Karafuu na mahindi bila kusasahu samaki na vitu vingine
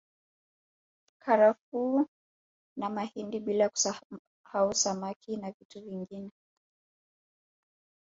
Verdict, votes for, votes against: rejected, 1, 2